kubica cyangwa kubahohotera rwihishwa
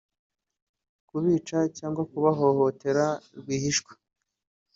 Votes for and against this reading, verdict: 3, 1, accepted